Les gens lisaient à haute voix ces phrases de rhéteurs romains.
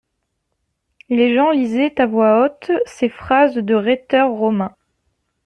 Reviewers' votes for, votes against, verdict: 1, 2, rejected